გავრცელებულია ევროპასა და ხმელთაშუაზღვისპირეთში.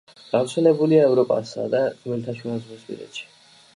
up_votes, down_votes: 2, 1